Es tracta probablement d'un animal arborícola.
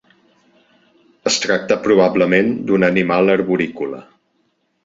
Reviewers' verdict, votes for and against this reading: accepted, 4, 0